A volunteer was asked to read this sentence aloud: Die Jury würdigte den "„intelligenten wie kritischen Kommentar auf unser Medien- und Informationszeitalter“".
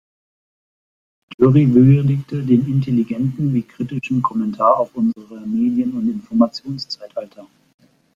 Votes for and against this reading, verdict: 0, 2, rejected